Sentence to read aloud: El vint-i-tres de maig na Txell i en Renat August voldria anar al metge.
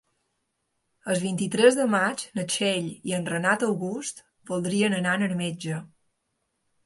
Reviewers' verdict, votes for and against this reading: accepted, 2, 1